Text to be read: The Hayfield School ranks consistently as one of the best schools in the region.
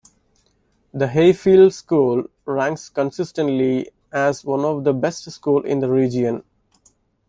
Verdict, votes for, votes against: rejected, 0, 2